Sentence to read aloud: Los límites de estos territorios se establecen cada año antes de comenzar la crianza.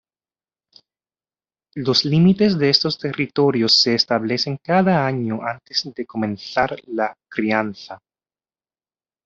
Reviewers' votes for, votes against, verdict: 2, 0, accepted